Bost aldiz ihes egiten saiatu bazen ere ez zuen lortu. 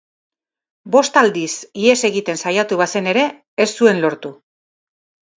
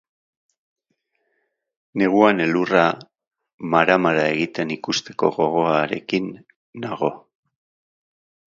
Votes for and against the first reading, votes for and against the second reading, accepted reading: 12, 0, 0, 2, first